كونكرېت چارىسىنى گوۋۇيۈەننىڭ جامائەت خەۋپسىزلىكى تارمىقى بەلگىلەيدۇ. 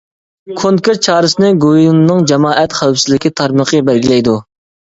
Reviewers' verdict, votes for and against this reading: rejected, 1, 2